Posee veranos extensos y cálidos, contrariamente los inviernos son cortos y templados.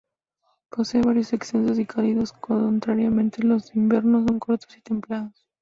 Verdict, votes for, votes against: rejected, 0, 2